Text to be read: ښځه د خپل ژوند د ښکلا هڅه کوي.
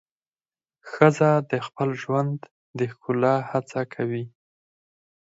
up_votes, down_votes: 4, 0